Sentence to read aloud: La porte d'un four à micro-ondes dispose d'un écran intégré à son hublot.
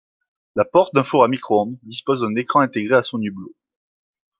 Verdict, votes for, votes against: accepted, 2, 0